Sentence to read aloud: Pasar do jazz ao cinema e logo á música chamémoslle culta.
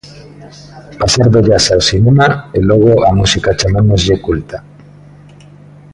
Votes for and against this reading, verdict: 2, 0, accepted